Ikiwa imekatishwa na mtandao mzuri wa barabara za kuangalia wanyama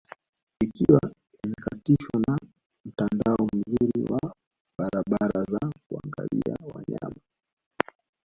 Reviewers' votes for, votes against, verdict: 1, 2, rejected